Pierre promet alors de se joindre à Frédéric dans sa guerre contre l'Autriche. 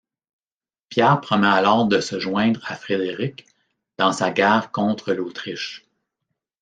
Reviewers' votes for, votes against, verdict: 2, 1, accepted